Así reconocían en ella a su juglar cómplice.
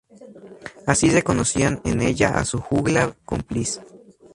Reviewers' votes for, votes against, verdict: 2, 0, accepted